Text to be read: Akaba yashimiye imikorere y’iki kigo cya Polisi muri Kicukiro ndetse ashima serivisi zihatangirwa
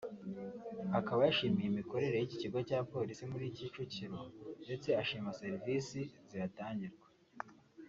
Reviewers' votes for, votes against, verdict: 2, 0, accepted